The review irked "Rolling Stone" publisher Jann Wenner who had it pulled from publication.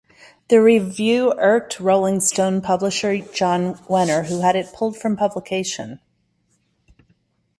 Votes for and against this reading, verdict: 2, 0, accepted